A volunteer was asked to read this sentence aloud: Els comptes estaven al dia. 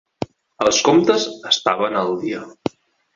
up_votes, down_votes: 5, 1